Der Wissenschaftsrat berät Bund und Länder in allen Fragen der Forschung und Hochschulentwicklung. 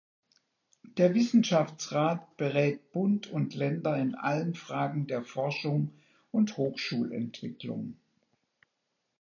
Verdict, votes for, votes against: accepted, 2, 0